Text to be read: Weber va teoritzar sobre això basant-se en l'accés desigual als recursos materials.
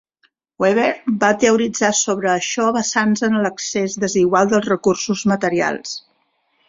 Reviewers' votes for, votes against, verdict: 1, 2, rejected